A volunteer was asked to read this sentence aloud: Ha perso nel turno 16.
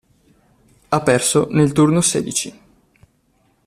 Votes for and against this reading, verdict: 0, 2, rejected